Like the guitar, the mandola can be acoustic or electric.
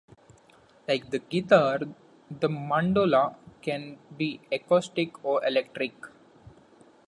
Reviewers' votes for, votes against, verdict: 2, 0, accepted